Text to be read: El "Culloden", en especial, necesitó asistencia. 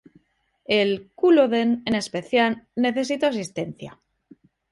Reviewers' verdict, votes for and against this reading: rejected, 0, 2